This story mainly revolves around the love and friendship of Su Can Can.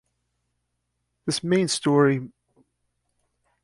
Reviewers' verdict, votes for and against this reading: rejected, 0, 2